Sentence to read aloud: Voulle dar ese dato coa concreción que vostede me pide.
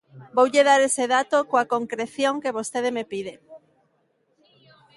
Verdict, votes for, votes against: accepted, 2, 0